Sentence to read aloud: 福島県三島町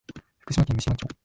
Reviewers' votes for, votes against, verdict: 1, 3, rejected